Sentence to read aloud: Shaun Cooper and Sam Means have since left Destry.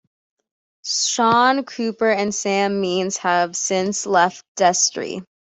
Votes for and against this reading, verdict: 2, 0, accepted